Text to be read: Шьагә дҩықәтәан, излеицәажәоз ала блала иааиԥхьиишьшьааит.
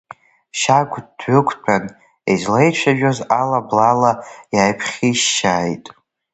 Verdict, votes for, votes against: accepted, 2, 0